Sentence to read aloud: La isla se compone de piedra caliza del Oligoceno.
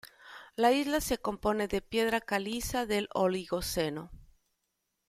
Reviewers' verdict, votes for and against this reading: accepted, 2, 0